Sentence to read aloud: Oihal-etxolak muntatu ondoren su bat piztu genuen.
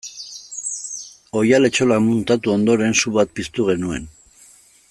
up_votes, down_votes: 2, 0